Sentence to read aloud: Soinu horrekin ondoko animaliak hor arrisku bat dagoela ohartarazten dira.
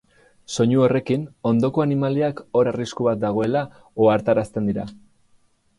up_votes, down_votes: 4, 0